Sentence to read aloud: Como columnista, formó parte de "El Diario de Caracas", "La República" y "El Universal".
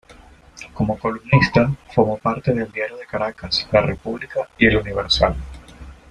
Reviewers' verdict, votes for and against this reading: rejected, 1, 2